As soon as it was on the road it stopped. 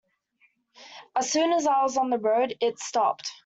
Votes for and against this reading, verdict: 1, 2, rejected